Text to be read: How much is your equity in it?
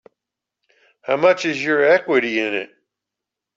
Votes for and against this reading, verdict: 3, 0, accepted